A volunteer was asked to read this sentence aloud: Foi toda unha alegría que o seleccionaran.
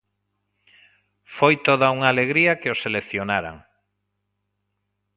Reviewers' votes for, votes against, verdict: 2, 0, accepted